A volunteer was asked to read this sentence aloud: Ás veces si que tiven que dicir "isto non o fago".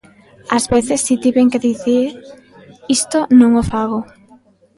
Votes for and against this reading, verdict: 0, 2, rejected